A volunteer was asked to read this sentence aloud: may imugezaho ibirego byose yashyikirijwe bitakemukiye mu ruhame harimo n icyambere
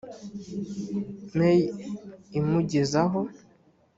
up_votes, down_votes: 1, 2